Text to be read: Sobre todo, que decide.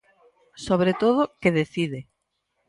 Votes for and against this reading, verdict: 4, 0, accepted